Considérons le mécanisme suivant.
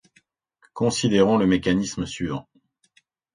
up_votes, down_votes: 2, 0